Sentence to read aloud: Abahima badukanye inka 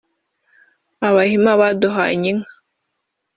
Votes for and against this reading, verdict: 3, 1, accepted